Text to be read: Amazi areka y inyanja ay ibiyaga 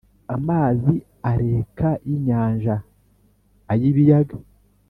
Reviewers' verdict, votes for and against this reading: accepted, 2, 0